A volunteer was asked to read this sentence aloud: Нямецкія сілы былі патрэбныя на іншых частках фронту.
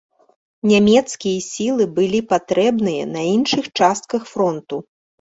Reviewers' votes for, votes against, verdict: 2, 1, accepted